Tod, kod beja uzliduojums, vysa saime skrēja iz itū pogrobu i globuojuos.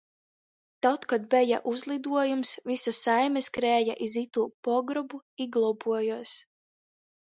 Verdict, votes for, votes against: rejected, 1, 2